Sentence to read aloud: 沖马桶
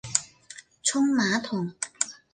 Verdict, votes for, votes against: accepted, 2, 0